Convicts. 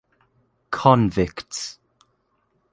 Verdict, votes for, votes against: accepted, 2, 0